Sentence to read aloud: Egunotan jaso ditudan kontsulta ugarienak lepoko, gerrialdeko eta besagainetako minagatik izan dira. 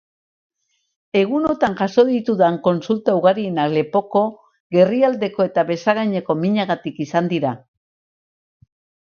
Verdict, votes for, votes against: accepted, 4, 0